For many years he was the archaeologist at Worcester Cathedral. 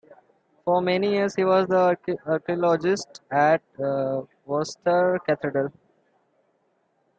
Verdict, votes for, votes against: rejected, 0, 2